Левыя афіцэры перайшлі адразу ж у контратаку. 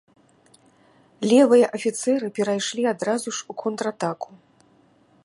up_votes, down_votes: 2, 0